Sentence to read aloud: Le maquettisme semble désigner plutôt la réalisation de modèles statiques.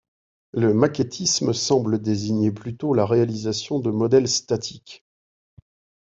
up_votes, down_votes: 2, 0